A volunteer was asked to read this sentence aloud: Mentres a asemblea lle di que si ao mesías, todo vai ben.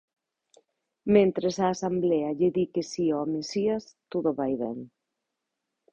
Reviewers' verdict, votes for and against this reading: rejected, 1, 2